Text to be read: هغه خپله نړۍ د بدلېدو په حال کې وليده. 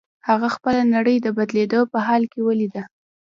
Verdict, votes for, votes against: rejected, 0, 2